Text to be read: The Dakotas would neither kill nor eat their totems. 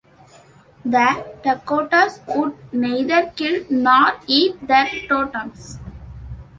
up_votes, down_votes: 2, 0